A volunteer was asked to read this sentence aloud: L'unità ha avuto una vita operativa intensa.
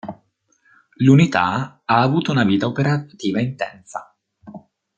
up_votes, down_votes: 1, 2